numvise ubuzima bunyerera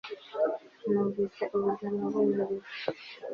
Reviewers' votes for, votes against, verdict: 1, 2, rejected